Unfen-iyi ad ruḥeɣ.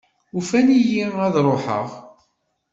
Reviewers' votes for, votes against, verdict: 2, 0, accepted